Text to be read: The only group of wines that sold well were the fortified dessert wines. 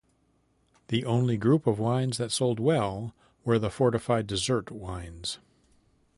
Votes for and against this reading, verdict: 2, 0, accepted